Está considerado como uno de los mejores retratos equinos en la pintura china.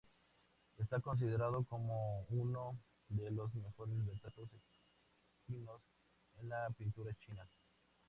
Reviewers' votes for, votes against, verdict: 2, 0, accepted